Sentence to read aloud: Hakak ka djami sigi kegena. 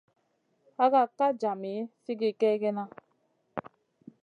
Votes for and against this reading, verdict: 3, 0, accepted